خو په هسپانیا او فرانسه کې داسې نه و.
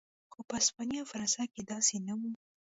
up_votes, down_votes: 1, 2